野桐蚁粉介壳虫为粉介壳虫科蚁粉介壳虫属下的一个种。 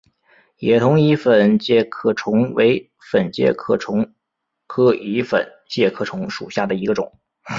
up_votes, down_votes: 3, 0